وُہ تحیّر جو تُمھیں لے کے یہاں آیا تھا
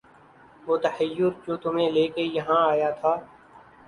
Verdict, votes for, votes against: accepted, 2, 0